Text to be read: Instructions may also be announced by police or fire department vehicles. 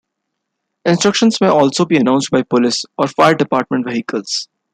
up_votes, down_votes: 0, 2